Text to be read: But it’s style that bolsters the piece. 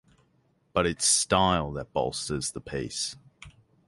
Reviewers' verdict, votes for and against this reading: accepted, 6, 0